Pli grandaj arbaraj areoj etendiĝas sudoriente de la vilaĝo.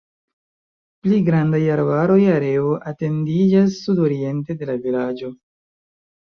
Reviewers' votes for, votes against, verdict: 0, 3, rejected